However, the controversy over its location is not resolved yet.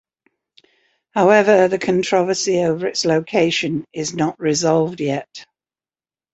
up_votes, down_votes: 2, 0